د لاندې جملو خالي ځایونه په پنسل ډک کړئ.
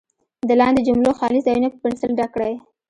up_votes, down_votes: 2, 0